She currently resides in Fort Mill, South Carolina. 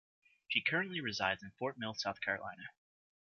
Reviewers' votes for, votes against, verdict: 2, 0, accepted